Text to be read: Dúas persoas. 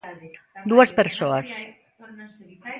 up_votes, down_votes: 2, 1